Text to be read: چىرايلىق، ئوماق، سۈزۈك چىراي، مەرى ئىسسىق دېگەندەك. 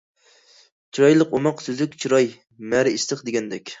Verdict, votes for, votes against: accepted, 2, 0